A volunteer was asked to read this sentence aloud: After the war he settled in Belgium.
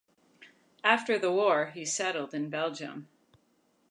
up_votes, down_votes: 2, 0